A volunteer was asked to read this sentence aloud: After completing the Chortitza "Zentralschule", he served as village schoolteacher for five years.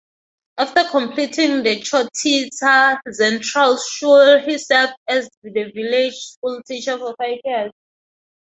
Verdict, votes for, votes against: rejected, 2, 4